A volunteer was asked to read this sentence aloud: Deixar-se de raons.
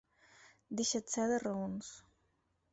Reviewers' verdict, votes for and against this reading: accepted, 4, 0